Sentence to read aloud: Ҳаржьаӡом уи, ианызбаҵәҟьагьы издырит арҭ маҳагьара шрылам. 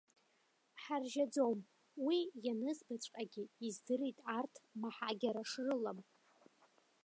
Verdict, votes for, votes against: rejected, 1, 2